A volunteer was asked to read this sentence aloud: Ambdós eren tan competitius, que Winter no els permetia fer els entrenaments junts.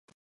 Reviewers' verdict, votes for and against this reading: rejected, 0, 2